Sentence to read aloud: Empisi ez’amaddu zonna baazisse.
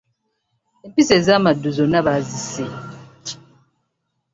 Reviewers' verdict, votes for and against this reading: rejected, 1, 3